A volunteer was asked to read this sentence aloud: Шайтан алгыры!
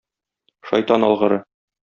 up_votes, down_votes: 2, 0